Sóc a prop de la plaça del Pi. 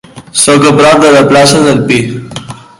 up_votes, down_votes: 3, 0